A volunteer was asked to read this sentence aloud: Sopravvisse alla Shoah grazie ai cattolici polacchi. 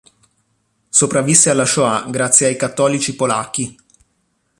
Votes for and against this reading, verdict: 3, 0, accepted